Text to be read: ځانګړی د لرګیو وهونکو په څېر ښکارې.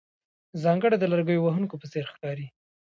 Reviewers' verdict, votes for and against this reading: rejected, 1, 2